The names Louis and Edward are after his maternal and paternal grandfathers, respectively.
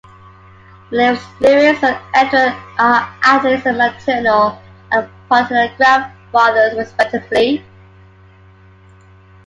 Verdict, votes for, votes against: rejected, 0, 2